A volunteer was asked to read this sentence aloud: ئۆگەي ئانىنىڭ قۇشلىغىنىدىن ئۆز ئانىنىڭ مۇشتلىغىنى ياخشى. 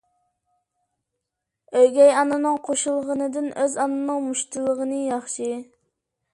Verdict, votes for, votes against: rejected, 1, 2